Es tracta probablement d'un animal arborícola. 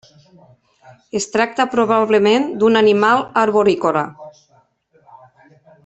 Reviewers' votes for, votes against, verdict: 0, 2, rejected